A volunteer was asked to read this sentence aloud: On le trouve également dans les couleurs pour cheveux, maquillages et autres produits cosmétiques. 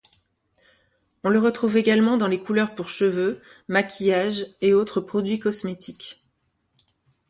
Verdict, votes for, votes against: rejected, 1, 2